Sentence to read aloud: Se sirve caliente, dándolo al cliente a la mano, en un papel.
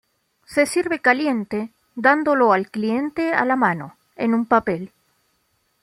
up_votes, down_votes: 2, 0